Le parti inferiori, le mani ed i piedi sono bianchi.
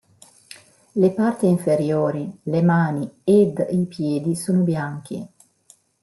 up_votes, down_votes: 2, 1